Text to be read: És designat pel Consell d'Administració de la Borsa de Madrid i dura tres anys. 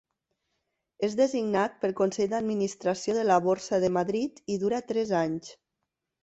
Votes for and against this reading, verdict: 2, 0, accepted